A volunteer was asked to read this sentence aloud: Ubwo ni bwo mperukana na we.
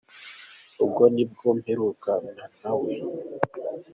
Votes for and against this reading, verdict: 2, 0, accepted